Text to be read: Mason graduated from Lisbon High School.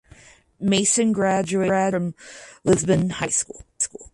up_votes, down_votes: 0, 4